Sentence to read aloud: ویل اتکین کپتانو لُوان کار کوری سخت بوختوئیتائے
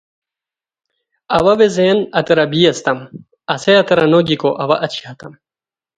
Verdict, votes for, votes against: rejected, 0, 2